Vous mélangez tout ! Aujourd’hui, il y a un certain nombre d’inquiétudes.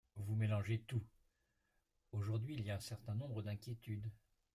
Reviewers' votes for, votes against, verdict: 0, 2, rejected